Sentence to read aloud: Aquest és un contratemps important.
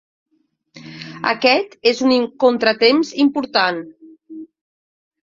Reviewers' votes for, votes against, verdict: 1, 2, rejected